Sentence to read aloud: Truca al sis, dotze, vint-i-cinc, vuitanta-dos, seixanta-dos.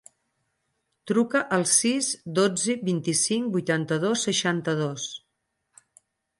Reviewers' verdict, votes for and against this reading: accepted, 4, 0